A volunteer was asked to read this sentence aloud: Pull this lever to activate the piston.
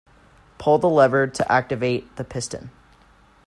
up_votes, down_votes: 0, 3